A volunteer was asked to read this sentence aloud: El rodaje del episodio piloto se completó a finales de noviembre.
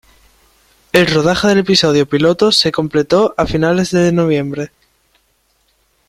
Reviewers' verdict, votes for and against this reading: rejected, 0, 2